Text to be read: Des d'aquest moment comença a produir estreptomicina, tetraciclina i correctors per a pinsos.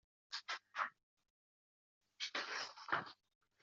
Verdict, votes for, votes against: rejected, 0, 2